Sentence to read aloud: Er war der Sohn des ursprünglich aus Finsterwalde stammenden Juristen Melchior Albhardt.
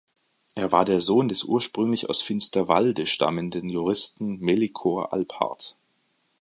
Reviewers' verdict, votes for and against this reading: rejected, 0, 2